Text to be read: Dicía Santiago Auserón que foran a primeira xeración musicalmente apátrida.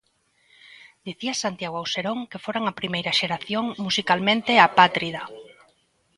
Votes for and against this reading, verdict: 2, 0, accepted